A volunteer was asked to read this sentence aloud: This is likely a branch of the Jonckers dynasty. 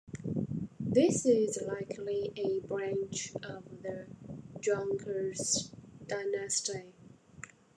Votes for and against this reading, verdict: 2, 1, accepted